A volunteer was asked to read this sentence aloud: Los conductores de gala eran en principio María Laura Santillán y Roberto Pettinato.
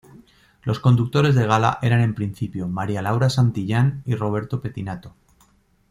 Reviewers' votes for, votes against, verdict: 2, 0, accepted